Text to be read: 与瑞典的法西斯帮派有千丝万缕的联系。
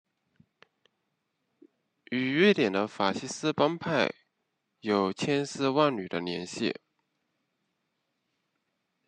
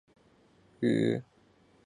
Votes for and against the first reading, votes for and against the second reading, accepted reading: 2, 0, 0, 5, first